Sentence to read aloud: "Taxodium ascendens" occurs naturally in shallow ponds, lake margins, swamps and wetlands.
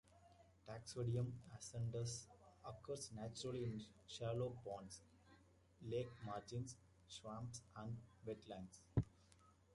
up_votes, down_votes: 1, 2